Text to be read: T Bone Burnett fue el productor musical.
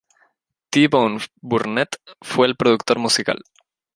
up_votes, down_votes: 2, 0